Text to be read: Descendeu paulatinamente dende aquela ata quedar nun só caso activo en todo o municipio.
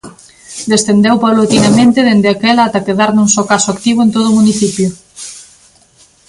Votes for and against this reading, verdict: 2, 0, accepted